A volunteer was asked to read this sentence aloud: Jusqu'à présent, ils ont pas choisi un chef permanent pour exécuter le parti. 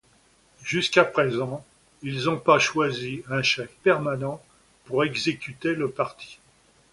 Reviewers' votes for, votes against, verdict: 1, 2, rejected